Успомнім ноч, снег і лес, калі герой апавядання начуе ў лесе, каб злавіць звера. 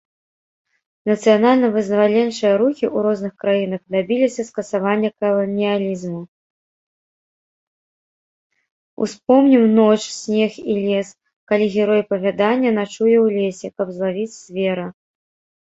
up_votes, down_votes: 0, 2